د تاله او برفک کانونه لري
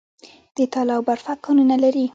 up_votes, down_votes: 1, 2